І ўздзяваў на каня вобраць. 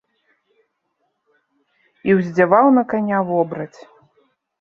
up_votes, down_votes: 2, 0